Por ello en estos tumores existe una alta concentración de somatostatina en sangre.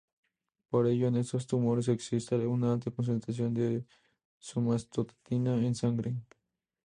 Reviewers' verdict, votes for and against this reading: rejected, 0, 2